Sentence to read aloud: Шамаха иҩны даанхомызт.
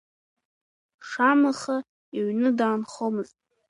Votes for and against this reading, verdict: 2, 1, accepted